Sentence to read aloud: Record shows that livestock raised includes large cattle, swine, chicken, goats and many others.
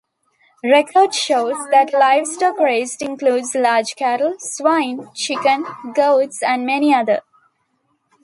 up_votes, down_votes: 1, 2